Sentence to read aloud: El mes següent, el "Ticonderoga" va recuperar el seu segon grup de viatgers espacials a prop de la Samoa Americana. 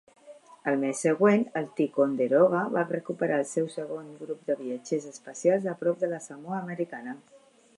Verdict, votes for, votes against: accepted, 2, 0